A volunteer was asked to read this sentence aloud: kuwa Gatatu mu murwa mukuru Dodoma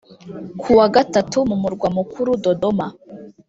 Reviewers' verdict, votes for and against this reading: accepted, 2, 0